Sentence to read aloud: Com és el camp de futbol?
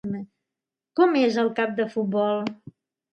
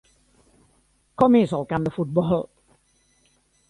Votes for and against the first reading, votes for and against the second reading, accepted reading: 1, 3, 3, 0, second